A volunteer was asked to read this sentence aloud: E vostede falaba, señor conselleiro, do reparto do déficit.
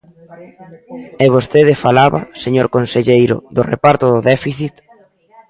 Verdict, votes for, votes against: rejected, 1, 2